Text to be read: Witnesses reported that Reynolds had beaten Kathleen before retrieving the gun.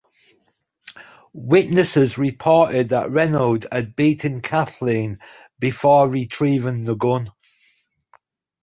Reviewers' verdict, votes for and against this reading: accepted, 2, 0